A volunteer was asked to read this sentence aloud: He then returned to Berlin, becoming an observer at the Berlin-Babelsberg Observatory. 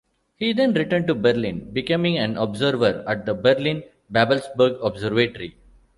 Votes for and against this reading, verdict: 1, 2, rejected